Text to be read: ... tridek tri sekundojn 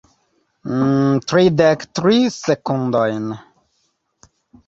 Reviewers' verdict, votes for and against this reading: accepted, 4, 2